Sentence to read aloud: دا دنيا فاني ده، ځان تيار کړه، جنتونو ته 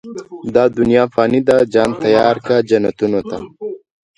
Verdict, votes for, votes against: rejected, 0, 2